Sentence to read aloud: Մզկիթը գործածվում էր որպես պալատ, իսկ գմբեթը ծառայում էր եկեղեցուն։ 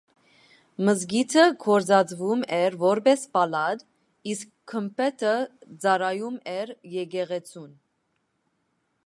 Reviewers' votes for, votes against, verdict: 2, 0, accepted